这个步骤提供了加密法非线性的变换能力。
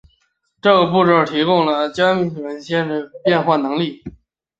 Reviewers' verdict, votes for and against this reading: rejected, 2, 3